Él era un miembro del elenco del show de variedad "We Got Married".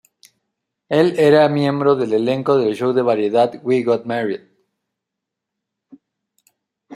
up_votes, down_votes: 2, 0